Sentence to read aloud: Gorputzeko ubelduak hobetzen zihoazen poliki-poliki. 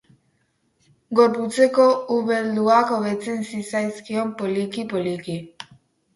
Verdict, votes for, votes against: rejected, 2, 2